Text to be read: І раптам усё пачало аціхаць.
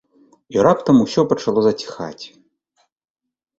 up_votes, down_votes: 0, 2